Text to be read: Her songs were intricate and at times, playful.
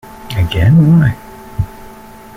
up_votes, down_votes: 1, 2